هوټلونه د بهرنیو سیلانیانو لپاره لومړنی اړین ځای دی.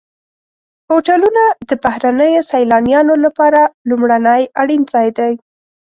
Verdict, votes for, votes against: accepted, 2, 0